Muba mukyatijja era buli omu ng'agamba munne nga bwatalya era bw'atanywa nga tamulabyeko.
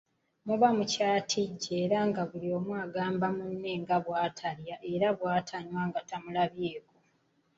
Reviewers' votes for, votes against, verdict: 0, 2, rejected